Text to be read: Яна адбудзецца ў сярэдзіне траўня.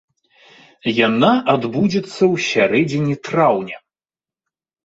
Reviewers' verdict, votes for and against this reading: accepted, 2, 0